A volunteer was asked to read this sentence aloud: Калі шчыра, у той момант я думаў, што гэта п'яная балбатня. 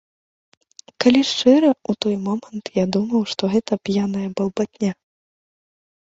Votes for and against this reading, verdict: 2, 1, accepted